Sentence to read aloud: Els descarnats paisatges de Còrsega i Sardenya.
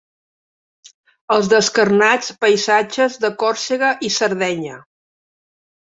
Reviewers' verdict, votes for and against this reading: accepted, 2, 0